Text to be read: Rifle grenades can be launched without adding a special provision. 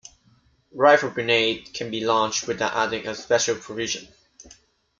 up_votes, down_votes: 1, 2